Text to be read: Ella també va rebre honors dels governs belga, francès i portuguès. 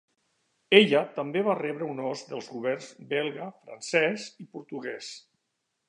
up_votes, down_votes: 1, 2